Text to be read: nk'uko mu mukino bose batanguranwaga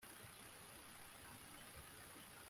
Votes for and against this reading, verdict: 0, 2, rejected